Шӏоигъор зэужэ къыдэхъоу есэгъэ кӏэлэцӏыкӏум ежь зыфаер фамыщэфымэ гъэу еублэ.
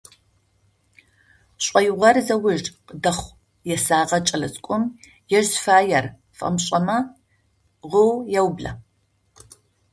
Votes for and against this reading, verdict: 0, 2, rejected